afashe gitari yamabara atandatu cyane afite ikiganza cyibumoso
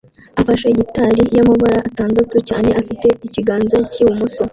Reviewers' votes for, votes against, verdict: 2, 0, accepted